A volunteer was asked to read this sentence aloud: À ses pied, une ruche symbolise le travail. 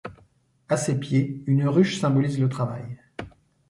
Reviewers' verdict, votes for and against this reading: accepted, 2, 0